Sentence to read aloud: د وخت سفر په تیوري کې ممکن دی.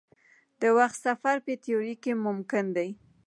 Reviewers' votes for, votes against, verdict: 0, 2, rejected